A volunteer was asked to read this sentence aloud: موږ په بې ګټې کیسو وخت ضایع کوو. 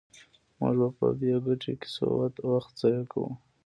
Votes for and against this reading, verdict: 2, 0, accepted